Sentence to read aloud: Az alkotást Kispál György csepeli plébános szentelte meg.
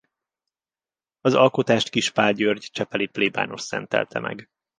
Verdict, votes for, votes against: accepted, 2, 0